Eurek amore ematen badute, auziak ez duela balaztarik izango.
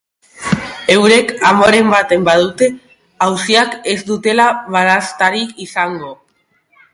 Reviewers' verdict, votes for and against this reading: rejected, 0, 3